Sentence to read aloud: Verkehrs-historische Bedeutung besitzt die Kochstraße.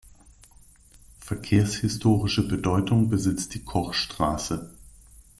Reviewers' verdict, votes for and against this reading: accepted, 2, 0